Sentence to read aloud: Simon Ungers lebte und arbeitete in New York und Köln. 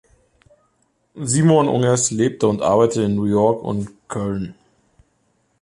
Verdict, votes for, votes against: rejected, 0, 2